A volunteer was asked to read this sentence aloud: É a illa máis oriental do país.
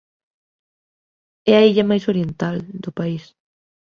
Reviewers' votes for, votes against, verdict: 2, 1, accepted